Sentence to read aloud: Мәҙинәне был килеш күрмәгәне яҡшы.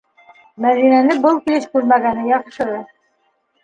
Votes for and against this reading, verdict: 2, 1, accepted